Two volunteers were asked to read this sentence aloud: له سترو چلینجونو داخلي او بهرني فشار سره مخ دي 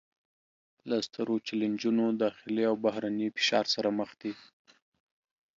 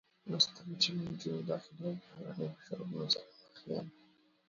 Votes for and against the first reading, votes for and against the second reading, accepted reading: 2, 0, 0, 2, first